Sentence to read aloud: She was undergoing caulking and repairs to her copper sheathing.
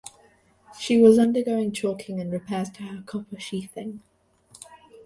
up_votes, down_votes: 1, 2